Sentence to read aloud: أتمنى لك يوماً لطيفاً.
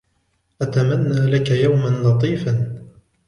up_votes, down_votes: 2, 0